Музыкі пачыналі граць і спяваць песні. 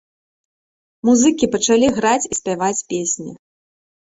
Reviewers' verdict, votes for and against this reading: rejected, 1, 2